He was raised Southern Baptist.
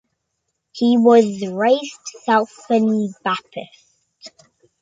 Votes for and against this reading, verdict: 1, 2, rejected